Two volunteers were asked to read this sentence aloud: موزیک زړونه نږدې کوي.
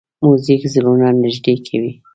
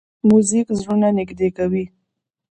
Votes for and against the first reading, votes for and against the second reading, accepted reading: 2, 0, 1, 2, first